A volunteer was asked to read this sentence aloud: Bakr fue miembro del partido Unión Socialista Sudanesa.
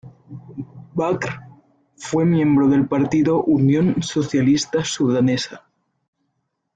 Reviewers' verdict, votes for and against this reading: rejected, 0, 2